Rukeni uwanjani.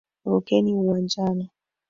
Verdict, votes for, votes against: accepted, 2, 1